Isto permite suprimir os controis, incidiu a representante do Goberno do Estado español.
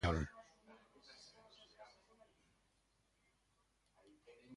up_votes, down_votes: 0, 3